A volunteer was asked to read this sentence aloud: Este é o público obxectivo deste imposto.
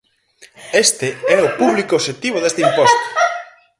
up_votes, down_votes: 0, 4